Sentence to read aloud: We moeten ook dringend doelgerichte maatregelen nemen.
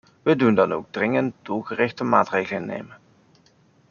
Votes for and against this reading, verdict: 0, 2, rejected